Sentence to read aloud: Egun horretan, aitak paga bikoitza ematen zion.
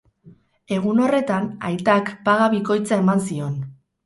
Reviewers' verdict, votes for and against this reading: rejected, 2, 2